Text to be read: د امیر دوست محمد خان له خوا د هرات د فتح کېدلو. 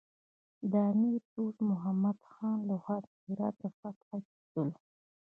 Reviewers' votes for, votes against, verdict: 2, 0, accepted